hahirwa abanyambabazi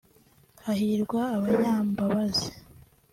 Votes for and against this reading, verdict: 2, 0, accepted